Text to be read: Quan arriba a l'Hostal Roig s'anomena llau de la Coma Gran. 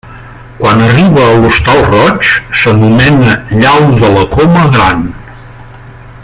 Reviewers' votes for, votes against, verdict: 1, 2, rejected